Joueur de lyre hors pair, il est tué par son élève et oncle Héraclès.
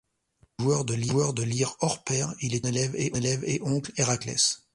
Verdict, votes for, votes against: rejected, 0, 2